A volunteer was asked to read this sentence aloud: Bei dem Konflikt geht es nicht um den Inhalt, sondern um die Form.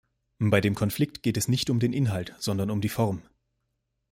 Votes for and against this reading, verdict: 2, 0, accepted